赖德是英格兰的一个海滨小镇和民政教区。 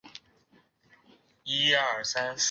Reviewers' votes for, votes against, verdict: 1, 3, rejected